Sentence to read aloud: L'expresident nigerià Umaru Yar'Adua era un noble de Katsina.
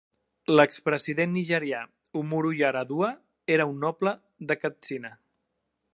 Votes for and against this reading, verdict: 0, 2, rejected